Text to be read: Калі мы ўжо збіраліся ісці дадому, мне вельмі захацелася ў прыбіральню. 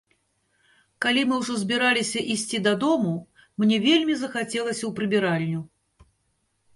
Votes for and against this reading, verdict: 2, 0, accepted